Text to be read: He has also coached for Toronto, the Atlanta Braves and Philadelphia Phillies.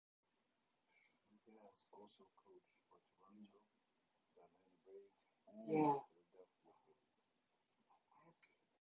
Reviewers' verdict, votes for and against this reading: rejected, 0, 2